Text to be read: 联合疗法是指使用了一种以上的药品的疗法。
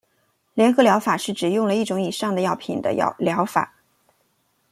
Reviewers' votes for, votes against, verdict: 0, 2, rejected